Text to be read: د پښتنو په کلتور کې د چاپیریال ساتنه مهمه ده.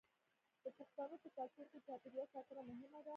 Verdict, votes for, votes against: rejected, 1, 2